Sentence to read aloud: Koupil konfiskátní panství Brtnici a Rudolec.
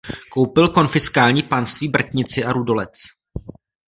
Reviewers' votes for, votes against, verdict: 0, 2, rejected